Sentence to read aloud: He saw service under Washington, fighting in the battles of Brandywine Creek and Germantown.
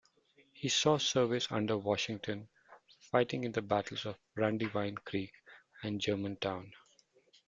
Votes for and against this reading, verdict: 2, 0, accepted